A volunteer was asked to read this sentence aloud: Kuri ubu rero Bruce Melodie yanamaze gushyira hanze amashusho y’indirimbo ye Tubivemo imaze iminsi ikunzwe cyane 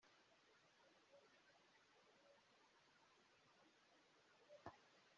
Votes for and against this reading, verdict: 0, 2, rejected